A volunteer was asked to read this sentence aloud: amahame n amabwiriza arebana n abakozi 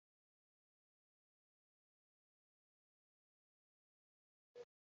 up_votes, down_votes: 1, 2